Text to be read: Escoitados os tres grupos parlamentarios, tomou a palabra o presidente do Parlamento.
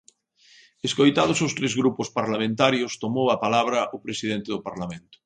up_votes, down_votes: 2, 0